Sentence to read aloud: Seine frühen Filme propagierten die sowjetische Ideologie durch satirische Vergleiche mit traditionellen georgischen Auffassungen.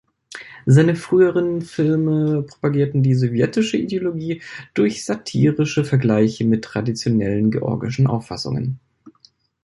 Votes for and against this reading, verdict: 0, 2, rejected